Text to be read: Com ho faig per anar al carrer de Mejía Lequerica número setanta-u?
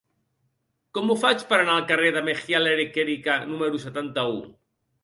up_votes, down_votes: 1, 2